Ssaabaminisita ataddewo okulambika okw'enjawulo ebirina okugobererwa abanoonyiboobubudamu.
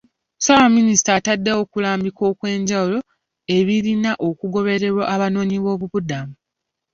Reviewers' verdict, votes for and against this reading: accepted, 3, 0